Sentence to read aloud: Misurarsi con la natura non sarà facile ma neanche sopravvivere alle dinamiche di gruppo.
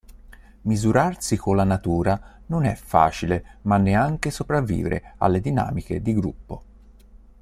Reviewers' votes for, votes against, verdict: 1, 2, rejected